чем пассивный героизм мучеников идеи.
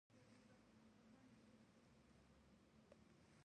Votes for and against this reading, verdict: 0, 2, rejected